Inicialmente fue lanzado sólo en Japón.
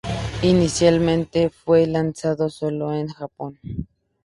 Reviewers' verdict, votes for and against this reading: rejected, 0, 2